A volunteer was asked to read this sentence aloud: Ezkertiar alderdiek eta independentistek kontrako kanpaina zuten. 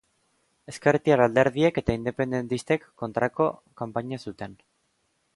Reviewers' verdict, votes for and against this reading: accepted, 2, 0